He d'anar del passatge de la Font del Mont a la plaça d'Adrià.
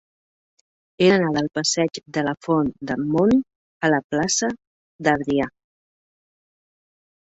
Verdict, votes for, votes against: rejected, 0, 2